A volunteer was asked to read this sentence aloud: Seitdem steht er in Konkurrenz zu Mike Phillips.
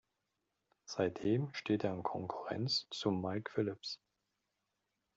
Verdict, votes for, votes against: accepted, 2, 0